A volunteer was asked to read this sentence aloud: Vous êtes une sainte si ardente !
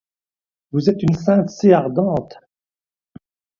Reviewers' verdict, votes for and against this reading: accepted, 2, 0